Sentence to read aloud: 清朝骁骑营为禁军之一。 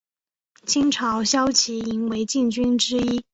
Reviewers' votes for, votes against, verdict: 4, 0, accepted